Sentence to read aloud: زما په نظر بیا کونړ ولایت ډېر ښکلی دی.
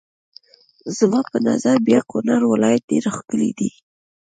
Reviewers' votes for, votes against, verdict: 1, 2, rejected